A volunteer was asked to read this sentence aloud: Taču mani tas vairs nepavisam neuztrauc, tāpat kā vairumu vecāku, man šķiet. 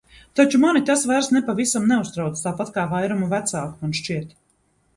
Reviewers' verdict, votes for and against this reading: accepted, 2, 0